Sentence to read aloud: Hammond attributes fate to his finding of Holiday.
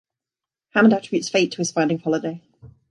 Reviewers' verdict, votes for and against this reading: rejected, 1, 2